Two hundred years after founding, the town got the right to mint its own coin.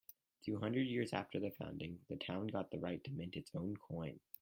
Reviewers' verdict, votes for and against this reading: rejected, 2, 4